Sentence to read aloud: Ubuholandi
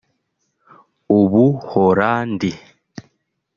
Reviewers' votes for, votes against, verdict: 1, 2, rejected